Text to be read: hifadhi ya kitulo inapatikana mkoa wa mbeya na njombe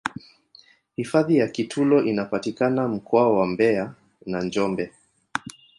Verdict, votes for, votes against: accepted, 2, 0